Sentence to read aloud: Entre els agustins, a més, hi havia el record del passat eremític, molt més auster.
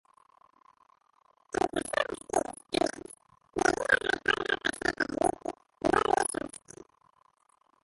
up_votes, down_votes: 0, 2